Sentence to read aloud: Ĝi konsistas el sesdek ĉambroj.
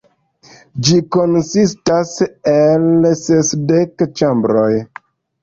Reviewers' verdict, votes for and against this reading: accepted, 2, 0